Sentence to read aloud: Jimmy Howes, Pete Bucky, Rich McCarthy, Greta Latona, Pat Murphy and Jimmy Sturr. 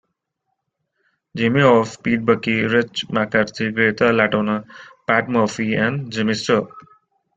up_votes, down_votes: 2, 0